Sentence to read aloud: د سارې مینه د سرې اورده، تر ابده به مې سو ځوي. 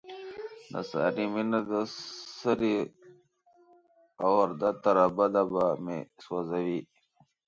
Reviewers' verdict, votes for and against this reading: rejected, 0, 2